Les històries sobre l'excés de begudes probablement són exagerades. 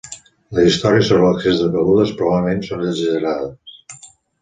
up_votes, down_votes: 4, 0